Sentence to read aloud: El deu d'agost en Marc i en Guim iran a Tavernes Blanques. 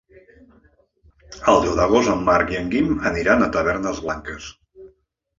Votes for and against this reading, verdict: 0, 2, rejected